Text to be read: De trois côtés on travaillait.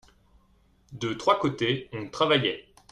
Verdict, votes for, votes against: accepted, 2, 0